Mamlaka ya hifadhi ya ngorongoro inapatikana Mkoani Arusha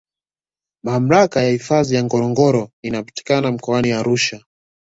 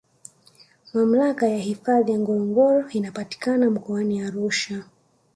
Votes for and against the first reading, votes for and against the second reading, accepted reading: 2, 0, 1, 2, first